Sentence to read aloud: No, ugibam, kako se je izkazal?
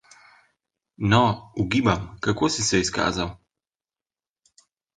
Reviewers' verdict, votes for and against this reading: rejected, 0, 2